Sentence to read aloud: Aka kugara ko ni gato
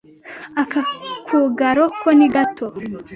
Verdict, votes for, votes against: rejected, 0, 2